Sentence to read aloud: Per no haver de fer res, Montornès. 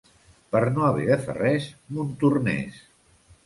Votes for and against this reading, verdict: 2, 0, accepted